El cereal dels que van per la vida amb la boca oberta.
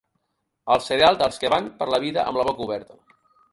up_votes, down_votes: 0, 2